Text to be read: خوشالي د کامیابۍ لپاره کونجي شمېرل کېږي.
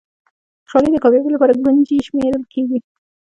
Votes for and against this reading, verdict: 2, 0, accepted